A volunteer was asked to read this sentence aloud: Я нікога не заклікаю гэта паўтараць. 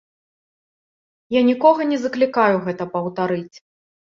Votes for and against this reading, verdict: 0, 2, rejected